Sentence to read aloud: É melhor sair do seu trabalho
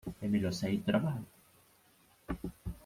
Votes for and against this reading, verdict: 0, 2, rejected